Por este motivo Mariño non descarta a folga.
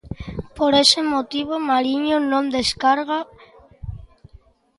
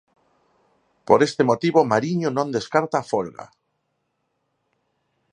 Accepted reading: second